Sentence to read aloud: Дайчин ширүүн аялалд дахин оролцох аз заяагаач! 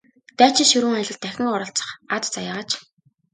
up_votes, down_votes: 2, 0